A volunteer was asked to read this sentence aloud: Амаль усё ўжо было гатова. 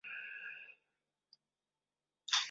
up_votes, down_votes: 0, 2